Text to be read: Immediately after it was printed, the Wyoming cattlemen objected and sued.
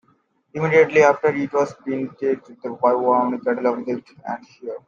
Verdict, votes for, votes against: rejected, 0, 2